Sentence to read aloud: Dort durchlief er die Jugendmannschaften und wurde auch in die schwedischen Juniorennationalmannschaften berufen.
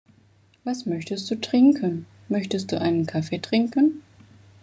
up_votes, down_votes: 0, 2